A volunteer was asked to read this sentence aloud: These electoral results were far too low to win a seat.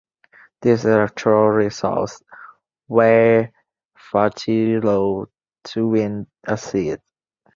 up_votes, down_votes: 1, 2